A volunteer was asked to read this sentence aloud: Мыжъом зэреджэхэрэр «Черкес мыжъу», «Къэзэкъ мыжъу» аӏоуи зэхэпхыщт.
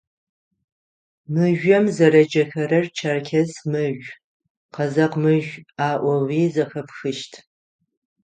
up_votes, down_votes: 3, 3